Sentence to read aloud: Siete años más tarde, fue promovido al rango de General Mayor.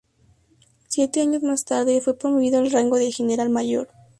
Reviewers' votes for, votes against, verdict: 2, 0, accepted